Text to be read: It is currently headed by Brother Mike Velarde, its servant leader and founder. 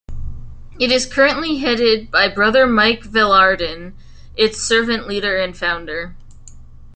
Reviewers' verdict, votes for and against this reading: accepted, 2, 1